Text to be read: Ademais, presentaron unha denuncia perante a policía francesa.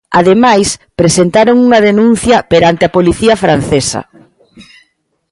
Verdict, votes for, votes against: accepted, 2, 0